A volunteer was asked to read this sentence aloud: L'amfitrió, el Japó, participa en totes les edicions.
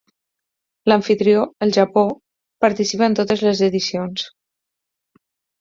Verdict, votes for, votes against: accepted, 6, 0